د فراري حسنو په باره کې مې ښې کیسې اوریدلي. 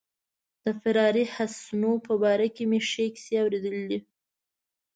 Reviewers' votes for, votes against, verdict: 2, 0, accepted